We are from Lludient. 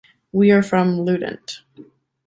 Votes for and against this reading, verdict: 2, 0, accepted